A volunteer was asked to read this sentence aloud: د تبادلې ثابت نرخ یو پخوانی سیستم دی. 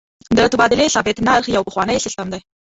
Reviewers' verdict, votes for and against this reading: rejected, 1, 2